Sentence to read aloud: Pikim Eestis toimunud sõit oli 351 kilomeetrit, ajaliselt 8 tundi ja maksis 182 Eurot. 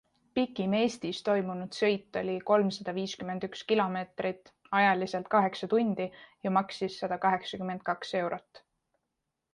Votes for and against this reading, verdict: 0, 2, rejected